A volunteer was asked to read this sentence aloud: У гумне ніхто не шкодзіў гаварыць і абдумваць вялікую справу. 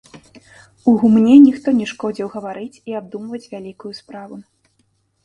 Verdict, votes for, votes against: rejected, 1, 2